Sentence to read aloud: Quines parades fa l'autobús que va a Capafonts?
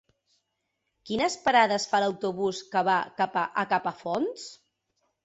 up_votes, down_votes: 1, 3